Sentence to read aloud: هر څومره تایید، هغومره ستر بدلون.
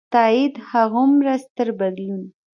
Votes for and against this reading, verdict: 0, 2, rejected